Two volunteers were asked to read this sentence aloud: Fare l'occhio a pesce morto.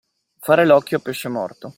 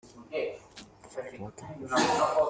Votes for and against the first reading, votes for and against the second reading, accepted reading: 2, 0, 0, 2, first